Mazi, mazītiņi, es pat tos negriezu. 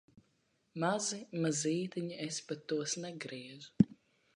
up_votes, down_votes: 2, 0